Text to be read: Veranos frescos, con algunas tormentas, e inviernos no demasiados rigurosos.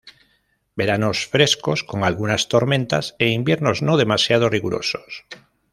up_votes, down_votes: 2, 0